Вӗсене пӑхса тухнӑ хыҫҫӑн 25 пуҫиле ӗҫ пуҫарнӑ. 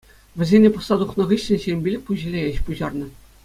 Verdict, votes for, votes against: rejected, 0, 2